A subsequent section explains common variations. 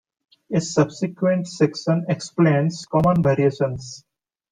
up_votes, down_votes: 2, 0